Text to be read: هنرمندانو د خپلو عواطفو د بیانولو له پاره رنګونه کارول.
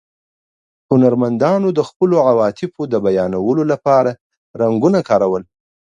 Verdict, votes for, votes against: accepted, 2, 0